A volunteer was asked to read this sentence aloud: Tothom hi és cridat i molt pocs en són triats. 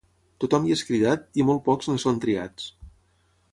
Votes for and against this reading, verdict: 6, 3, accepted